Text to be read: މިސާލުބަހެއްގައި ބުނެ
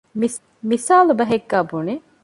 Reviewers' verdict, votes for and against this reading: rejected, 0, 2